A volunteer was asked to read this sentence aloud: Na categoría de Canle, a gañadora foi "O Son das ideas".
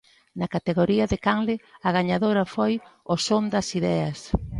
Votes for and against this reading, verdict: 2, 0, accepted